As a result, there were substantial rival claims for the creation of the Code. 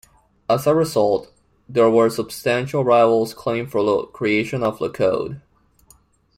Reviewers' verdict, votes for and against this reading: rejected, 1, 2